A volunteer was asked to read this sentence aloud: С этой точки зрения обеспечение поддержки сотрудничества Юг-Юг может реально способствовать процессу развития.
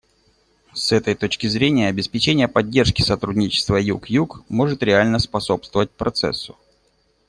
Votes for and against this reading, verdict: 1, 2, rejected